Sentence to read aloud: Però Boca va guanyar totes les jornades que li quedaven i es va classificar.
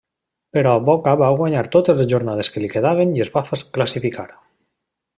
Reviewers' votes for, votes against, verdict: 0, 2, rejected